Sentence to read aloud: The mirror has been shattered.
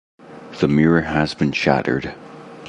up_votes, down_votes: 2, 0